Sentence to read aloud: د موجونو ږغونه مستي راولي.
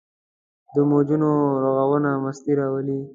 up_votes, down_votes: 2, 0